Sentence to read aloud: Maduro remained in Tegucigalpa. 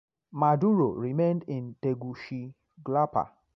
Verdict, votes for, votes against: rejected, 1, 2